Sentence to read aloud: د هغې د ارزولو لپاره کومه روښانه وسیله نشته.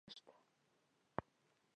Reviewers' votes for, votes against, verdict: 0, 2, rejected